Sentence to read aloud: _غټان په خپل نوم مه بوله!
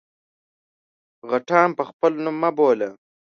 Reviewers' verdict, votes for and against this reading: accepted, 2, 0